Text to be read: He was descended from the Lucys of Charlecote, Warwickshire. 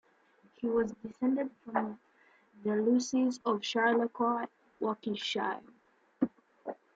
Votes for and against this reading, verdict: 0, 2, rejected